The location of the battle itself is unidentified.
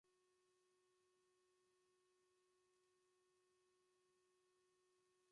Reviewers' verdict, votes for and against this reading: rejected, 0, 2